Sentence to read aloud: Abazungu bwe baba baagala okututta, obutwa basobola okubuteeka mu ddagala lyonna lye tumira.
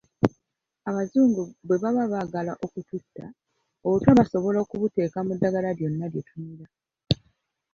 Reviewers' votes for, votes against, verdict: 2, 3, rejected